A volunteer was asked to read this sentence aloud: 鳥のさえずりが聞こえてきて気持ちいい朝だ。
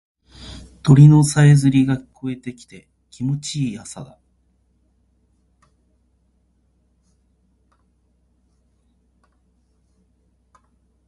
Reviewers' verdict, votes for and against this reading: rejected, 1, 2